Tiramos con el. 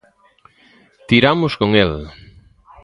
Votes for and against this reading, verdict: 2, 0, accepted